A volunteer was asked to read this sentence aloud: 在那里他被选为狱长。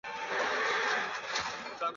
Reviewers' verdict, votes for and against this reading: rejected, 0, 2